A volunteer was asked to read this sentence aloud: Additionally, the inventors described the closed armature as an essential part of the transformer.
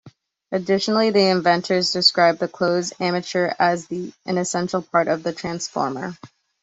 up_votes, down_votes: 2, 0